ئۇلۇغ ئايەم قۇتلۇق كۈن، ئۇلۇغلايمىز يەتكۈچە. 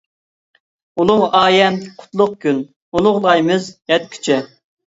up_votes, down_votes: 2, 0